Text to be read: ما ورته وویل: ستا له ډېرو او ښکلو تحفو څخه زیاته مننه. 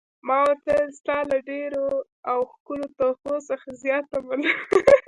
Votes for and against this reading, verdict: 1, 2, rejected